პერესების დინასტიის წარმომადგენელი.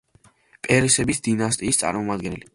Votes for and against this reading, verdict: 2, 0, accepted